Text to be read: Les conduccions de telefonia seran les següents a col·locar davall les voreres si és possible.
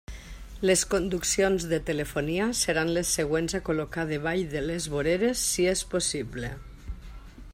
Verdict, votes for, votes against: rejected, 1, 2